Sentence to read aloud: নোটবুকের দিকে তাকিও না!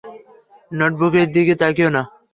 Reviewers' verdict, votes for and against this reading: accepted, 3, 0